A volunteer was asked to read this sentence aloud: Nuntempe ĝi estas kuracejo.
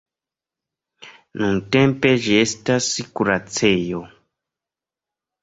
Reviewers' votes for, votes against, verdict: 1, 2, rejected